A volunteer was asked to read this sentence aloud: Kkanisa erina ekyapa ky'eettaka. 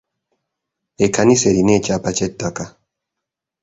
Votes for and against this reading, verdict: 1, 2, rejected